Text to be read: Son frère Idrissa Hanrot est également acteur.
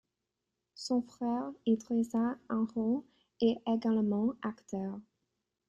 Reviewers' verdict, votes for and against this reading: accepted, 2, 0